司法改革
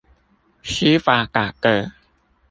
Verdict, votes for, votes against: rejected, 0, 2